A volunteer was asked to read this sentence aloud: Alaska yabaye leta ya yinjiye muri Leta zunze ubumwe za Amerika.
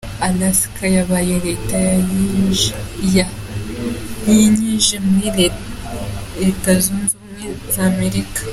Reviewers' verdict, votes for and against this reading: rejected, 0, 3